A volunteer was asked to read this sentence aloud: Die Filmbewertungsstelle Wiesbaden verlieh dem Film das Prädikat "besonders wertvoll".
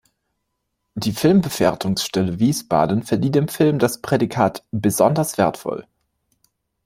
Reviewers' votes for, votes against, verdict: 0, 2, rejected